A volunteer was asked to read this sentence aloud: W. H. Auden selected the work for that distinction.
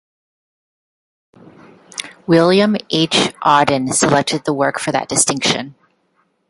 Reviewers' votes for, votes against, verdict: 0, 2, rejected